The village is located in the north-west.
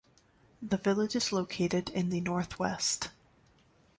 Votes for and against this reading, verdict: 2, 0, accepted